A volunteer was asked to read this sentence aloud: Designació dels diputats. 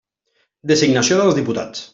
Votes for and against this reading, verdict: 0, 2, rejected